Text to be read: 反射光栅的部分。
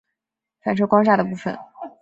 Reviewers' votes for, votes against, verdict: 0, 2, rejected